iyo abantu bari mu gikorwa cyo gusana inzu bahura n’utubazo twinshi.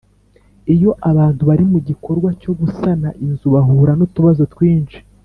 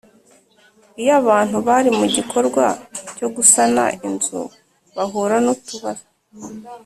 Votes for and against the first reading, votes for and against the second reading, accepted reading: 3, 0, 1, 2, first